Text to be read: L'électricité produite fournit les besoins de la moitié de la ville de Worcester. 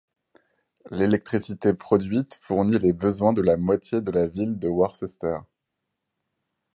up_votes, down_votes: 0, 4